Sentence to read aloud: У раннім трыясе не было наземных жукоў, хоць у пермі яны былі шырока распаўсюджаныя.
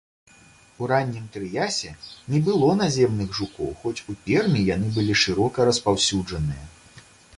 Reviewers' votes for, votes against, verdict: 2, 0, accepted